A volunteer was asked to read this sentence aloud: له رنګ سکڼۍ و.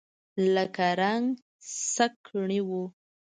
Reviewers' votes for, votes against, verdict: 2, 0, accepted